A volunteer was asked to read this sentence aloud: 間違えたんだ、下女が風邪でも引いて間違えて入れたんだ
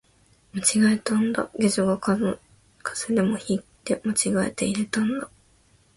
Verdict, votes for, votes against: rejected, 3, 6